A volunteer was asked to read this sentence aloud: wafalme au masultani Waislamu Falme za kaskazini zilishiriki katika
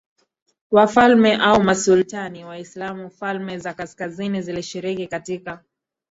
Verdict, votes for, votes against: accepted, 2, 0